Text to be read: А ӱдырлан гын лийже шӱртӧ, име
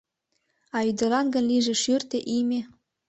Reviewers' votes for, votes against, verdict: 0, 2, rejected